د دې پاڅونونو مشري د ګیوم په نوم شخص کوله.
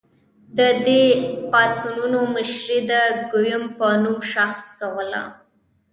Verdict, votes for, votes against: accepted, 2, 0